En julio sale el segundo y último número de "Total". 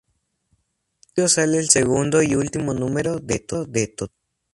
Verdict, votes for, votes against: rejected, 0, 2